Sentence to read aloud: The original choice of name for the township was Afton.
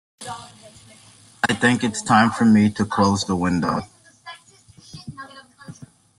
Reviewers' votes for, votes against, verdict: 1, 2, rejected